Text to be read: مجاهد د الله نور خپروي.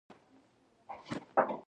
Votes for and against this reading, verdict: 0, 2, rejected